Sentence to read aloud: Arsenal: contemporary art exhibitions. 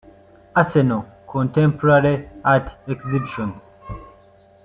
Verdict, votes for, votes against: accepted, 2, 0